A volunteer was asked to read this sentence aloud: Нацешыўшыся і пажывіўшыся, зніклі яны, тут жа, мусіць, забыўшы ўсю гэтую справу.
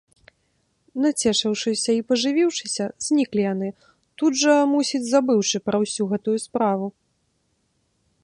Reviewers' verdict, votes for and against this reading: rejected, 1, 2